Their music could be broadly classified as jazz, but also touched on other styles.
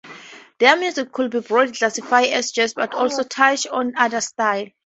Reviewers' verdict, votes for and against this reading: rejected, 0, 4